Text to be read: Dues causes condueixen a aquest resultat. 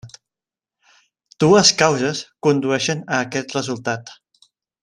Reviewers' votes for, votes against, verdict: 0, 2, rejected